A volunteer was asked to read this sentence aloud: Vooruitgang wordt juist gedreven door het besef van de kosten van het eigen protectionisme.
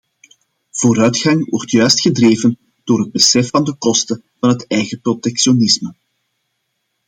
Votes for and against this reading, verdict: 2, 0, accepted